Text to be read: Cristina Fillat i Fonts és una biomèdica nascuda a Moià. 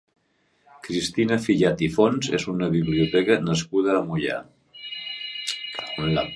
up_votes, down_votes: 1, 2